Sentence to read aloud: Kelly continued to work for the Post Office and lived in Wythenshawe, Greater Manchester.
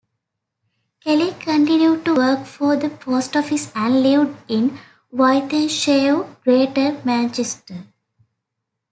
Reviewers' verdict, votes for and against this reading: rejected, 1, 2